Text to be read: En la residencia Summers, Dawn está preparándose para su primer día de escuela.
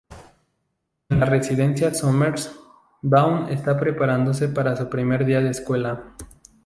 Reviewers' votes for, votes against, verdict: 0, 2, rejected